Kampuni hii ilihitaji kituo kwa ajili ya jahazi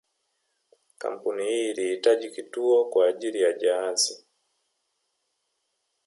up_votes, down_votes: 2, 0